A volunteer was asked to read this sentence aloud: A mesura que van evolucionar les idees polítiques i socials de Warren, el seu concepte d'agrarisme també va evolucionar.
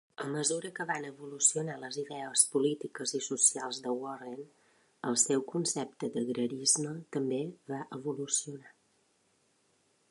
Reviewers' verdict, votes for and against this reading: accepted, 2, 0